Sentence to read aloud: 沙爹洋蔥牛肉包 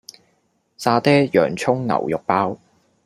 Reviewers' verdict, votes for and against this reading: accepted, 4, 0